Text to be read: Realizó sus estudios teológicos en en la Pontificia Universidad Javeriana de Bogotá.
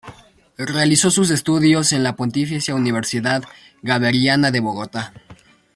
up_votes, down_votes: 0, 2